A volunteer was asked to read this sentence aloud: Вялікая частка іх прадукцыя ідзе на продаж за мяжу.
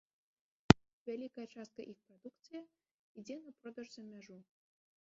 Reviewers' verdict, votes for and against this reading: rejected, 1, 2